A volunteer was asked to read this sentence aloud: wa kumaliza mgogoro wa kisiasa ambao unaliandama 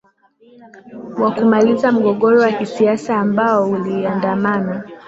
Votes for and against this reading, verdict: 0, 2, rejected